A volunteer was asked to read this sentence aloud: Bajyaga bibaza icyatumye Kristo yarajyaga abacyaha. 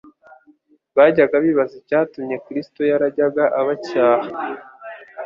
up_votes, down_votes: 2, 0